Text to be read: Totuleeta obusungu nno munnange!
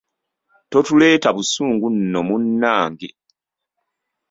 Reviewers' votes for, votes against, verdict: 1, 2, rejected